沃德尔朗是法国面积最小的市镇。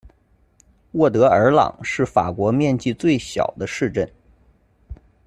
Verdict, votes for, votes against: accepted, 2, 0